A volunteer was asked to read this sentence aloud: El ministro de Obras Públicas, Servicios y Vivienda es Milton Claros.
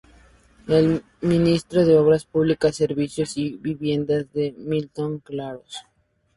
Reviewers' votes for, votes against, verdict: 2, 0, accepted